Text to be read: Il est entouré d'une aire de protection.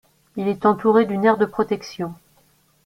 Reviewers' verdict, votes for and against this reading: accepted, 2, 0